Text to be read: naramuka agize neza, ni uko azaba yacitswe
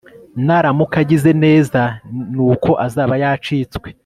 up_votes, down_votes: 2, 0